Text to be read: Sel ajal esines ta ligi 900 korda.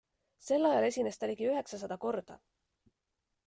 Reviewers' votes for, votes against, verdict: 0, 2, rejected